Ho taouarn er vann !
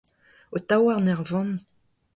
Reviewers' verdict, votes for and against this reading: accepted, 2, 0